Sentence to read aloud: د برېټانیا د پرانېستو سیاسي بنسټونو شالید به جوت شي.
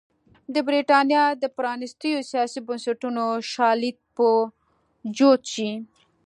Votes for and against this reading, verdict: 0, 3, rejected